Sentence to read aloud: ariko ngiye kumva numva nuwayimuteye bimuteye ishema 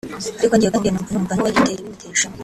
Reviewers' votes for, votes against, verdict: 1, 2, rejected